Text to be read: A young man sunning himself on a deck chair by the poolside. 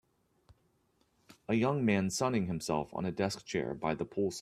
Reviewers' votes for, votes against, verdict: 1, 2, rejected